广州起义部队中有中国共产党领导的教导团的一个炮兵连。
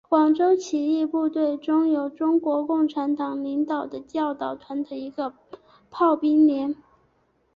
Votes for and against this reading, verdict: 3, 0, accepted